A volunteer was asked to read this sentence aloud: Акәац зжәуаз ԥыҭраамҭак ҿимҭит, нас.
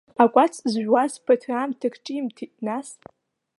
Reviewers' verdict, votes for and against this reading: accepted, 2, 0